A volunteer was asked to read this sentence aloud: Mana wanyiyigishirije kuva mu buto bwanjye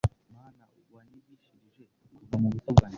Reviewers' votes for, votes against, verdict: 1, 2, rejected